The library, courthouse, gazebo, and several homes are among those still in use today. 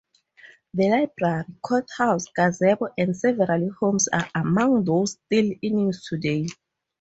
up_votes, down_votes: 0, 4